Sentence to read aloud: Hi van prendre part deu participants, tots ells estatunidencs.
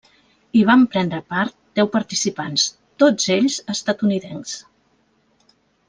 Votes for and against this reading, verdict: 3, 0, accepted